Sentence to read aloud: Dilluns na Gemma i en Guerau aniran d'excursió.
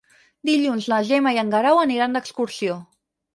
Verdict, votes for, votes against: rejected, 0, 4